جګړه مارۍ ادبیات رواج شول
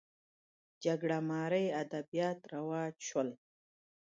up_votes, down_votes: 2, 0